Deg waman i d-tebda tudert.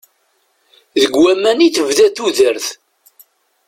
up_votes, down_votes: 2, 0